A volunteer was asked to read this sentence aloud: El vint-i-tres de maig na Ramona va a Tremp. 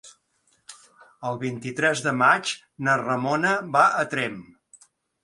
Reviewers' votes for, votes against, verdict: 2, 0, accepted